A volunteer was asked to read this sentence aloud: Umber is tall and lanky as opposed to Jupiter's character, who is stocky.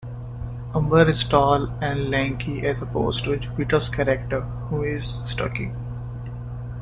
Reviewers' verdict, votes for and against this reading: accepted, 2, 0